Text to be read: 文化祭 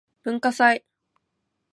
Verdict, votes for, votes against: accepted, 3, 0